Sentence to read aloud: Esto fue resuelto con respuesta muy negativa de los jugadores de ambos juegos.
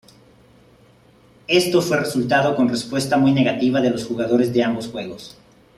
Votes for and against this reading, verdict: 0, 2, rejected